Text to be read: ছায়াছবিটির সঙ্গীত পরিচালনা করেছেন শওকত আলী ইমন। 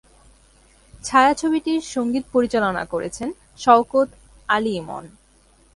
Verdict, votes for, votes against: accepted, 3, 0